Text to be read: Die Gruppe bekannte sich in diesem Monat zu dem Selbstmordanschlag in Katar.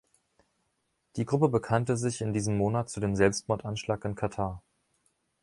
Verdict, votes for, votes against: accepted, 2, 0